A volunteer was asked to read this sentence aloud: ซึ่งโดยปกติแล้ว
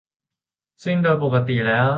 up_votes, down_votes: 2, 2